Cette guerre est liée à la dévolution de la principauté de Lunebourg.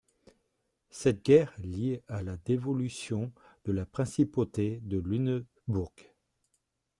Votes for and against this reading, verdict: 2, 3, rejected